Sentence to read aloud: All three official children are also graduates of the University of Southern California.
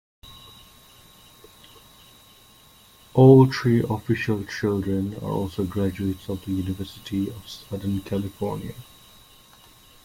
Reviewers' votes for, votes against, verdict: 3, 1, accepted